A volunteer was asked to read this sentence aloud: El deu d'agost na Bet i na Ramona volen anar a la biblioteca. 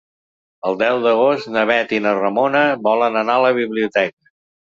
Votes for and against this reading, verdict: 3, 0, accepted